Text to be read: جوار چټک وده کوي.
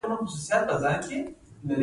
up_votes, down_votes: 0, 2